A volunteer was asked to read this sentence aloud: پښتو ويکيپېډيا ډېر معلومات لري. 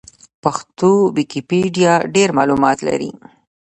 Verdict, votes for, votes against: rejected, 1, 2